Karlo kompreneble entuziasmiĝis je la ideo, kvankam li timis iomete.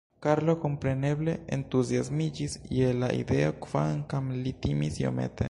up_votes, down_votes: 2, 0